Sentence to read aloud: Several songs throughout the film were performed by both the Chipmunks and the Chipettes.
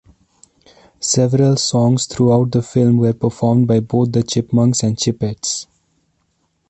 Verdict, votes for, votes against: rejected, 0, 2